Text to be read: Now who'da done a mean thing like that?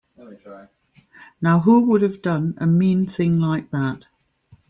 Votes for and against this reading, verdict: 0, 2, rejected